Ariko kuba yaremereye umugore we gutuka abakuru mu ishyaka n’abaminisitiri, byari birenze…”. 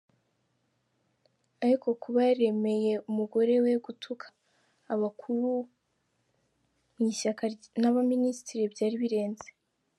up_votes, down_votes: 1, 2